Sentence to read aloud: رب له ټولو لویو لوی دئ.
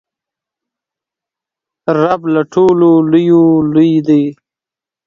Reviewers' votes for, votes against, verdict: 2, 0, accepted